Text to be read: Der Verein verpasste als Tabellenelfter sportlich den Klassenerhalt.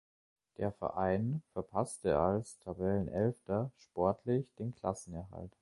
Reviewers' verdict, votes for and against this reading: accepted, 2, 0